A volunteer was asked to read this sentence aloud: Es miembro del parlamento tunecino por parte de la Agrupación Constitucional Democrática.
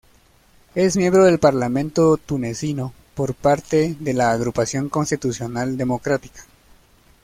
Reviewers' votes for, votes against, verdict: 2, 0, accepted